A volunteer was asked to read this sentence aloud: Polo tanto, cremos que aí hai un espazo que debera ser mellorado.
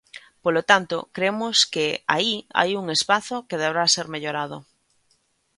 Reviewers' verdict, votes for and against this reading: rejected, 1, 2